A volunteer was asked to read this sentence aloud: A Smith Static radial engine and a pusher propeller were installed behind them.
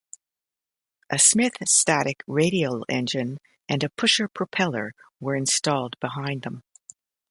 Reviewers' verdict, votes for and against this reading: accepted, 2, 0